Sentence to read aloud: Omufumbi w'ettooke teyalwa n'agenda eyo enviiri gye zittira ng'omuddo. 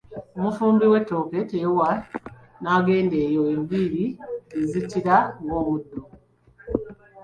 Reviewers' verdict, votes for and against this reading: rejected, 0, 2